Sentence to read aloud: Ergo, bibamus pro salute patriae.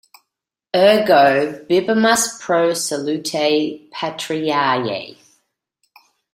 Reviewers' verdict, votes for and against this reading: rejected, 0, 2